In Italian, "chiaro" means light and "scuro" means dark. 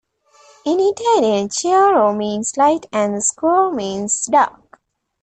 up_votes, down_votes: 2, 1